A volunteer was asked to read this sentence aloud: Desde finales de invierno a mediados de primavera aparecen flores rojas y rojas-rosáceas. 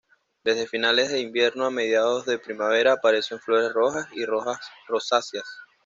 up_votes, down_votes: 2, 0